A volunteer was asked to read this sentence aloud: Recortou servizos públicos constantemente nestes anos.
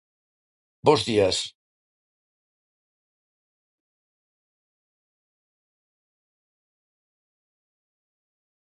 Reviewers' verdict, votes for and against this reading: rejected, 0, 2